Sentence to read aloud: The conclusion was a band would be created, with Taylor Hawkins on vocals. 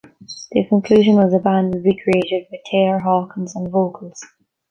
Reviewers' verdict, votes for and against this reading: rejected, 1, 2